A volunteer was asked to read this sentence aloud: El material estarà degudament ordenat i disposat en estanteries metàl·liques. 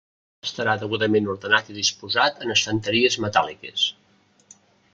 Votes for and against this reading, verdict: 1, 2, rejected